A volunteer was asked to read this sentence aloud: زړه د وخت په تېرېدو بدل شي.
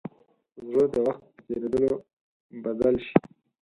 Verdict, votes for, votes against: rejected, 0, 4